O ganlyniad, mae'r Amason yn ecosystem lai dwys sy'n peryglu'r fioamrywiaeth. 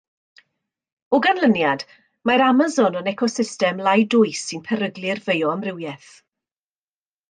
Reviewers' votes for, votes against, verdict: 2, 0, accepted